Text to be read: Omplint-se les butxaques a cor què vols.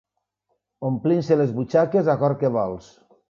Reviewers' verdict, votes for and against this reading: accepted, 2, 0